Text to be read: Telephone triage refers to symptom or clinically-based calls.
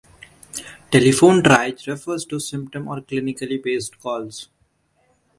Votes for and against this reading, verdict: 2, 1, accepted